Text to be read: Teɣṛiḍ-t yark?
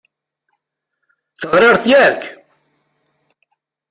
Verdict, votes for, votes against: rejected, 0, 2